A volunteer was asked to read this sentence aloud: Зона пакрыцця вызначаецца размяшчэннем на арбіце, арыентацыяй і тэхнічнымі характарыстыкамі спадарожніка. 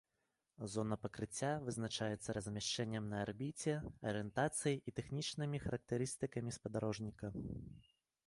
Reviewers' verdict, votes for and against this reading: accepted, 2, 0